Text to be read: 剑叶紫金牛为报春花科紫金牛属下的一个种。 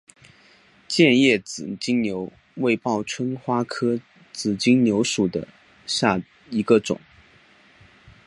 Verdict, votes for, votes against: rejected, 1, 3